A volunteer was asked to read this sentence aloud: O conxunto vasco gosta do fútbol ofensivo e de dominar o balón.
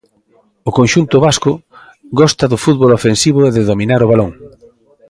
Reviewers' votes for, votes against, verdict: 2, 0, accepted